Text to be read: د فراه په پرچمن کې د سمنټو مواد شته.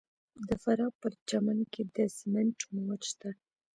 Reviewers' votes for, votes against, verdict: 1, 2, rejected